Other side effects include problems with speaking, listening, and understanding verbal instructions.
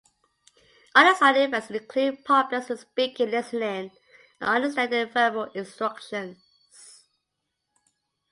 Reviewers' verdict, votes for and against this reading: accepted, 2, 0